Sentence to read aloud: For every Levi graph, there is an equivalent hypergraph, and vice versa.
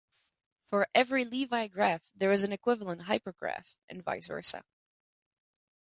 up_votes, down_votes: 2, 0